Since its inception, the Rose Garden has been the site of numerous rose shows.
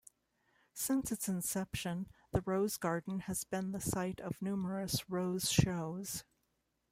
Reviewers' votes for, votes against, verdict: 2, 0, accepted